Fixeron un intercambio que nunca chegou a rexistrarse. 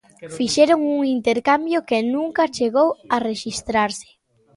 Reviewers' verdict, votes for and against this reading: rejected, 1, 2